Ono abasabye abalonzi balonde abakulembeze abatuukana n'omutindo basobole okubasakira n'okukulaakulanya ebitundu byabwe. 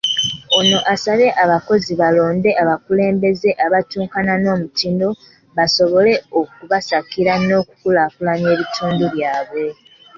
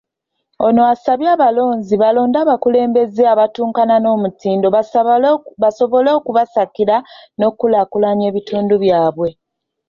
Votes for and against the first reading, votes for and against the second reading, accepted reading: 2, 1, 0, 2, first